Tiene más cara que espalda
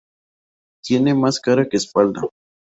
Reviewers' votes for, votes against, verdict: 2, 0, accepted